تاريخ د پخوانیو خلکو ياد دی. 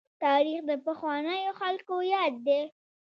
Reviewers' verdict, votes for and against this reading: accepted, 2, 0